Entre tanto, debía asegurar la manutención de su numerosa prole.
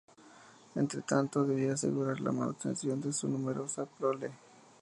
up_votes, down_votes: 2, 0